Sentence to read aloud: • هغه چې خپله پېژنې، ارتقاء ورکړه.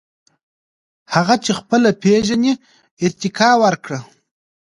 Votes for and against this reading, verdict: 2, 0, accepted